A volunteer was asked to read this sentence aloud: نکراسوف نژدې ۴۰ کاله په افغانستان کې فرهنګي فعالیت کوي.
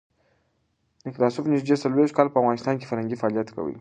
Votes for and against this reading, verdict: 0, 2, rejected